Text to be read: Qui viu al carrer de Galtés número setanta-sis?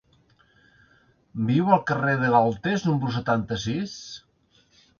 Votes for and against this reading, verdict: 0, 2, rejected